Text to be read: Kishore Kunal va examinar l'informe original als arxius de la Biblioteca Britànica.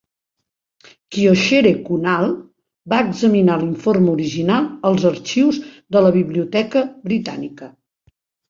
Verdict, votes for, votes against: rejected, 0, 2